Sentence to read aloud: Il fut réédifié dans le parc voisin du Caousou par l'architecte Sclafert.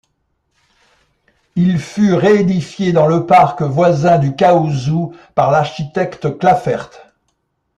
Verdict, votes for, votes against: accepted, 2, 0